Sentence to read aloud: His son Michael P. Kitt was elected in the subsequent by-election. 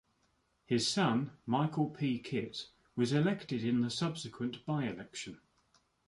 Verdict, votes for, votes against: accepted, 2, 0